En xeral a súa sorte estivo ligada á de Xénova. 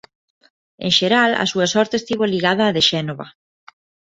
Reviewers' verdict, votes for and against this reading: rejected, 0, 2